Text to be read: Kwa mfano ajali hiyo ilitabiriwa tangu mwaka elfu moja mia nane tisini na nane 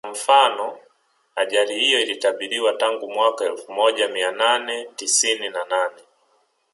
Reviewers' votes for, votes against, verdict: 2, 1, accepted